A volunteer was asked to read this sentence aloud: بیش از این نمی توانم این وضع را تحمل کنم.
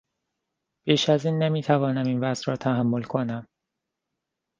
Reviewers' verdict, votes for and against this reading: accepted, 2, 0